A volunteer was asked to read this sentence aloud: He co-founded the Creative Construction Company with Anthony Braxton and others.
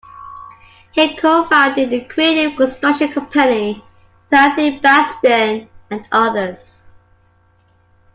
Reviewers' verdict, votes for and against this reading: rejected, 0, 2